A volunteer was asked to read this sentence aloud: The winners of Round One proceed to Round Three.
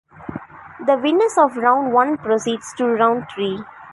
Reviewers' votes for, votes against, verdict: 1, 2, rejected